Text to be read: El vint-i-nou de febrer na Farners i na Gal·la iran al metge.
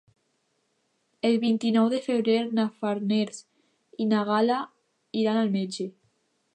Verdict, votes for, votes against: accepted, 2, 0